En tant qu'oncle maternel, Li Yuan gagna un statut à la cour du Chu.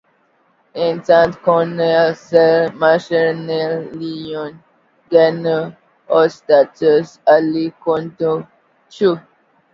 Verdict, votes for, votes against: rejected, 0, 2